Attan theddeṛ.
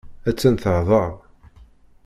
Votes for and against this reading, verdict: 0, 2, rejected